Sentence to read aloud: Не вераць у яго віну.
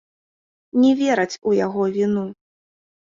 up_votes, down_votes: 2, 0